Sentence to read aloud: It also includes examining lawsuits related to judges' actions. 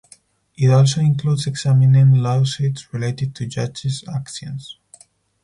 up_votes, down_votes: 2, 2